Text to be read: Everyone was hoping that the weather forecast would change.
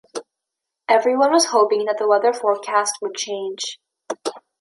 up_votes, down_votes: 2, 0